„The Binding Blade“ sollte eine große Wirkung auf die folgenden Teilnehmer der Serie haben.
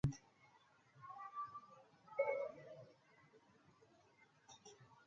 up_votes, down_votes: 0, 3